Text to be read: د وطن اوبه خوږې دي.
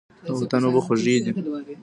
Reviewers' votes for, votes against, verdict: 2, 0, accepted